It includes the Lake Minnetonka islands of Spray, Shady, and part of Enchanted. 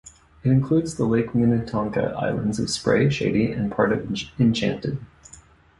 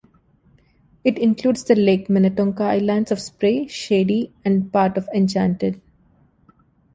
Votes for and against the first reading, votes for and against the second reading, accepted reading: 1, 2, 2, 0, second